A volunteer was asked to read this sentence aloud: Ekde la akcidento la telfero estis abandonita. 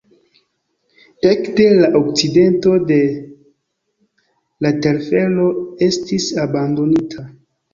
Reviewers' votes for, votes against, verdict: 0, 2, rejected